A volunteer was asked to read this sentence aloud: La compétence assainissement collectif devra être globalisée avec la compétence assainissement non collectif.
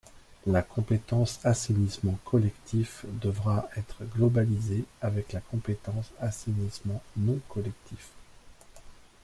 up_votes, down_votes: 2, 0